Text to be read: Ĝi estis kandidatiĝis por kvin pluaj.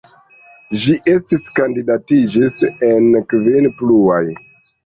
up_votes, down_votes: 1, 2